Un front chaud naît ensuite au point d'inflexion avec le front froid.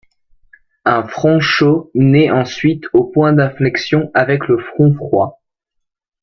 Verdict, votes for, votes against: accepted, 2, 0